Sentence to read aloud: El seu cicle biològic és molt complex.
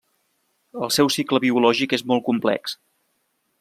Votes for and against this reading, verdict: 3, 0, accepted